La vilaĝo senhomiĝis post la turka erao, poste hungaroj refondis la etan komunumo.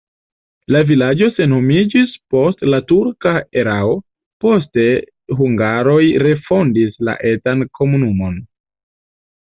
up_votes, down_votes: 2, 0